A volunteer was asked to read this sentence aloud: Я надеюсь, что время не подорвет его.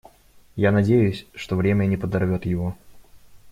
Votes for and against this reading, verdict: 2, 0, accepted